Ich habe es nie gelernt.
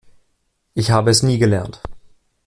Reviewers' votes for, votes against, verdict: 2, 0, accepted